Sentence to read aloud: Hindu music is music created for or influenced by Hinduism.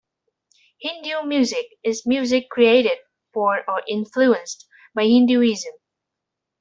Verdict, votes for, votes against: accepted, 2, 1